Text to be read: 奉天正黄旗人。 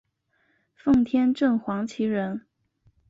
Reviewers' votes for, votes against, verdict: 2, 0, accepted